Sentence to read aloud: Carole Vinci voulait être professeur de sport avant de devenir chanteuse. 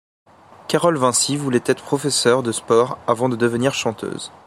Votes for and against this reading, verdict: 2, 0, accepted